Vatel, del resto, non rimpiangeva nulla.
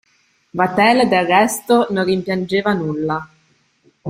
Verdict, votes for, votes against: accepted, 2, 0